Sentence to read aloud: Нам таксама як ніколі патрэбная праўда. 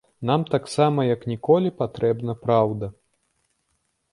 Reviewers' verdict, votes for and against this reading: rejected, 0, 2